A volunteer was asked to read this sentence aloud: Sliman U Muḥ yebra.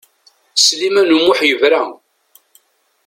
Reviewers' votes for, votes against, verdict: 2, 0, accepted